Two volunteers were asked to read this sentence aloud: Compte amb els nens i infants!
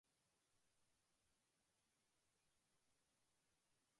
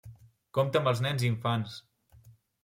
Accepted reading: second